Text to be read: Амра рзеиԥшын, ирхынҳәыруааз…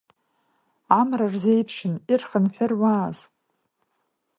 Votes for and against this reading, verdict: 2, 0, accepted